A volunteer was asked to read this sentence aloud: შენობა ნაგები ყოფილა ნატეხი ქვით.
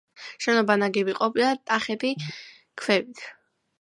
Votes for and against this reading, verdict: 1, 2, rejected